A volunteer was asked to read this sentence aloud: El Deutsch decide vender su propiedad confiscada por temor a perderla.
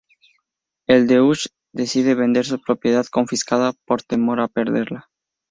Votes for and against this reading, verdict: 2, 0, accepted